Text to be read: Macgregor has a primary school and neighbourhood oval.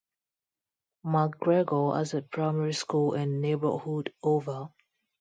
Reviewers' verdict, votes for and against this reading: accepted, 2, 0